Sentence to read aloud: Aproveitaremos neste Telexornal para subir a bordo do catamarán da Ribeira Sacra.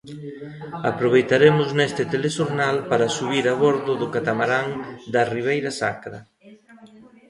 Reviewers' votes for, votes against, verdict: 1, 2, rejected